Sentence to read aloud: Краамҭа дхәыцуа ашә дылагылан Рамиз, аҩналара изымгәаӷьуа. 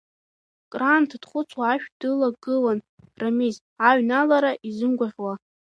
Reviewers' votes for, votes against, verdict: 1, 2, rejected